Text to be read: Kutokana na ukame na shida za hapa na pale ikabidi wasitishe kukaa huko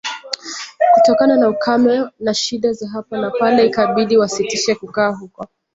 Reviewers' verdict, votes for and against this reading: rejected, 0, 2